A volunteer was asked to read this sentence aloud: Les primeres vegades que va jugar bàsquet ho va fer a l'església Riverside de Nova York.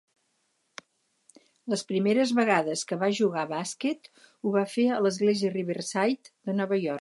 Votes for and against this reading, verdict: 4, 0, accepted